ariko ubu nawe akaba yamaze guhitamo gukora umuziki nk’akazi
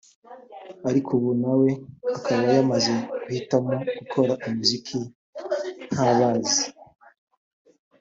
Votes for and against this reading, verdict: 2, 1, accepted